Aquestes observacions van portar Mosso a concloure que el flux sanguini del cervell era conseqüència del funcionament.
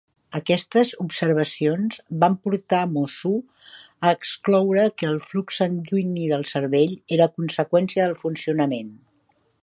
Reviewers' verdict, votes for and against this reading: rejected, 0, 2